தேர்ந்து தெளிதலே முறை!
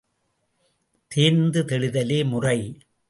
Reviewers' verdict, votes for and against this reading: accepted, 2, 0